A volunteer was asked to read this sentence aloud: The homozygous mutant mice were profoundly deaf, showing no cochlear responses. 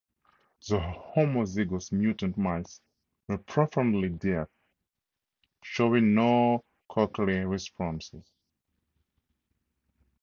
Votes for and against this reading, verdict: 2, 0, accepted